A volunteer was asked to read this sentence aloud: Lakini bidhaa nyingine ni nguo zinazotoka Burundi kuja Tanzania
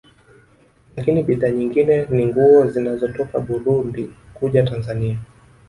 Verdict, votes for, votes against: rejected, 1, 2